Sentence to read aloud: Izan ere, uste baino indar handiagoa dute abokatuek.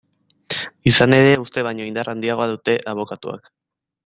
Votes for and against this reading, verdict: 1, 2, rejected